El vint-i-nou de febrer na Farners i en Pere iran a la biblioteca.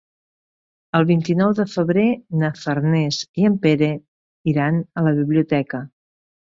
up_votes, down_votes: 2, 0